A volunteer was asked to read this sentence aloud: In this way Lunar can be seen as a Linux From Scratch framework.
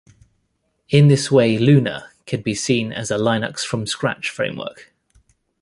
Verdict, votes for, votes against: accepted, 2, 0